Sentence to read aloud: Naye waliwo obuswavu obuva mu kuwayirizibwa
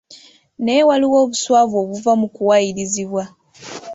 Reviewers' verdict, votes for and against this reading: accepted, 2, 0